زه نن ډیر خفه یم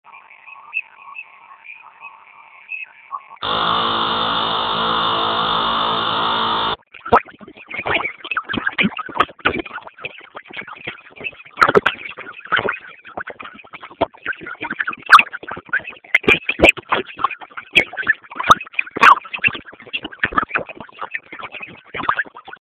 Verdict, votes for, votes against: rejected, 0, 2